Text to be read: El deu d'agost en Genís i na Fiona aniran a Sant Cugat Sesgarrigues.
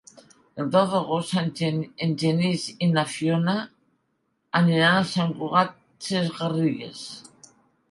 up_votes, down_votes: 1, 2